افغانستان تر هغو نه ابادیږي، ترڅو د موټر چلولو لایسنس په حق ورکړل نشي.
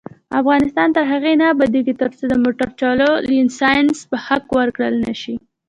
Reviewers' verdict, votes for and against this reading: rejected, 1, 2